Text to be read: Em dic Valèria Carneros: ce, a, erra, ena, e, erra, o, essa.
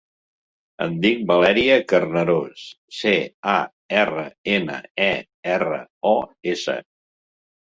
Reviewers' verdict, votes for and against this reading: rejected, 0, 2